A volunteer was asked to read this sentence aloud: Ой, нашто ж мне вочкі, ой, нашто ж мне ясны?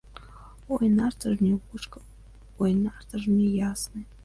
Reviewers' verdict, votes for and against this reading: rejected, 1, 2